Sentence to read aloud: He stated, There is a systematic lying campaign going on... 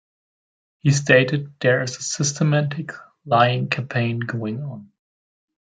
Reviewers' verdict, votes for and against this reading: accepted, 2, 0